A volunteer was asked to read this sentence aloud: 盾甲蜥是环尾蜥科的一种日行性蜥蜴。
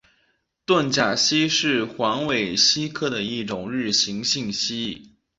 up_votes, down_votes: 2, 0